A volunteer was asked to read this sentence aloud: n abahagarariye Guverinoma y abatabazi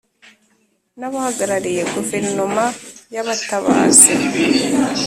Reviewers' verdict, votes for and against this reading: accepted, 2, 0